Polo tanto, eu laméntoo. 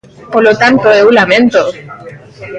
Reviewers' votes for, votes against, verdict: 2, 1, accepted